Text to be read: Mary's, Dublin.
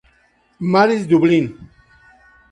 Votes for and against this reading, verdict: 2, 0, accepted